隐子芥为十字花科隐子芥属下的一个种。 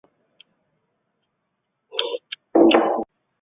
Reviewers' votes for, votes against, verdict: 1, 2, rejected